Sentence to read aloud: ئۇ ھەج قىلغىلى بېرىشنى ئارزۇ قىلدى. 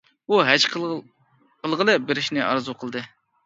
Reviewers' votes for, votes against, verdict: 0, 2, rejected